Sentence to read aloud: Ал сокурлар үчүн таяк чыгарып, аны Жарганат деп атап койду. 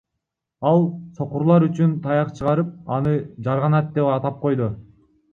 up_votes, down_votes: 2, 1